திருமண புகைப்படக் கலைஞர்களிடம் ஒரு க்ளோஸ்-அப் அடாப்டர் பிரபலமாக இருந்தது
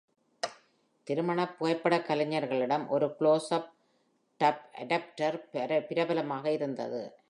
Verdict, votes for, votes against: rejected, 1, 2